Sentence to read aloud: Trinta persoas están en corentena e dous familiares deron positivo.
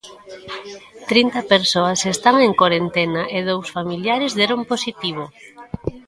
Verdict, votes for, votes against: accepted, 2, 0